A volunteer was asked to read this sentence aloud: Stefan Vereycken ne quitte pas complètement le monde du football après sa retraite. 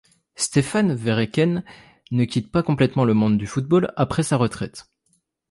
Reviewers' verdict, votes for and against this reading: rejected, 0, 2